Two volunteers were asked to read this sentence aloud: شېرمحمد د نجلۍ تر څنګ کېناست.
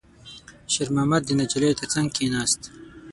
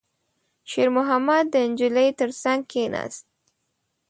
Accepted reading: second